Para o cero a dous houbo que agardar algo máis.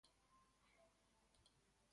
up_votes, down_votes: 0, 2